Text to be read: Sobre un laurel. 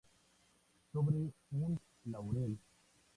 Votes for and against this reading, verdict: 0, 2, rejected